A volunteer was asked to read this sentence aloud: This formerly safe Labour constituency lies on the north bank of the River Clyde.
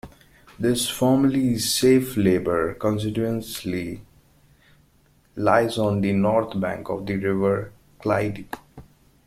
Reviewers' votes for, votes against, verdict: 0, 2, rejected